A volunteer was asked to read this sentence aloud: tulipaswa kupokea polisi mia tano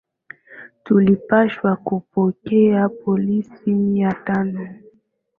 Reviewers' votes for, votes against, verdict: 3, 1, accepted